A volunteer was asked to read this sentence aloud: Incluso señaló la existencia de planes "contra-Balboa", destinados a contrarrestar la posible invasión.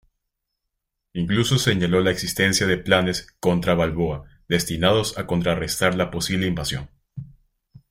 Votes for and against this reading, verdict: 2, 0, accepted